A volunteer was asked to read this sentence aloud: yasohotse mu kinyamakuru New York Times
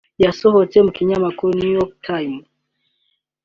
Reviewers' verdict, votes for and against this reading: accepted, 2, 0